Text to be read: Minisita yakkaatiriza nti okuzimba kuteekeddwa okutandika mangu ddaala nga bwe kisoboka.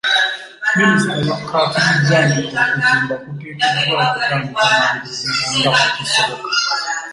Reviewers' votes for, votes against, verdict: 0, 2, rejected